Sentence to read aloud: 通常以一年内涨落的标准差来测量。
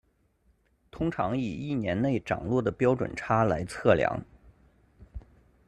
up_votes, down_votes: 2, 0